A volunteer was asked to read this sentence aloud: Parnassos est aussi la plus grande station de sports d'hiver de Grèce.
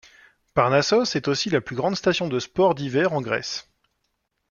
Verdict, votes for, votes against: rejected, 1, 2